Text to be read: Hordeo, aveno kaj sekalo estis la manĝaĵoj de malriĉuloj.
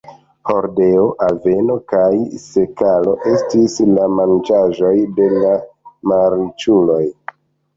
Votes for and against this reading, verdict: 1, 2, rejected